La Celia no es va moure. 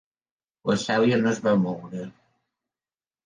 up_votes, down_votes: 3, 0